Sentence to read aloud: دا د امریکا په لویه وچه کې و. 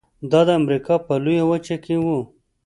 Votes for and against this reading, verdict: 2, 0, accepted